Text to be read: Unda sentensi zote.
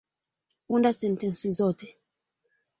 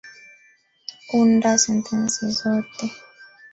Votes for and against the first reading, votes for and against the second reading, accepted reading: 2, 0, 1, 2, first